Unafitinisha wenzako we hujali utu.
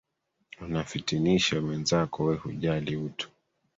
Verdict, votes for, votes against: rejected, 1, 2